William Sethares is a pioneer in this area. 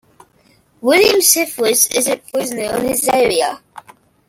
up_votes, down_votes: 1, 2